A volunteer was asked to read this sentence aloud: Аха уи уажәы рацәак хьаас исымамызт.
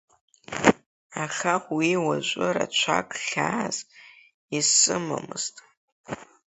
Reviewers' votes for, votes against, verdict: 2, 1, accepted